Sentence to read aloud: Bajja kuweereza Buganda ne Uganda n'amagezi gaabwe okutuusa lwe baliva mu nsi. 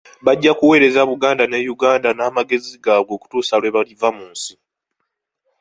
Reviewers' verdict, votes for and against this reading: accepted, 3, 0